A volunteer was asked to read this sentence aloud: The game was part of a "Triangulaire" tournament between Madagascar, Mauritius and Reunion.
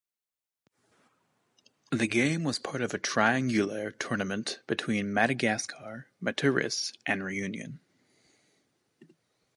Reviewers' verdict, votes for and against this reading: rejected, 0, 2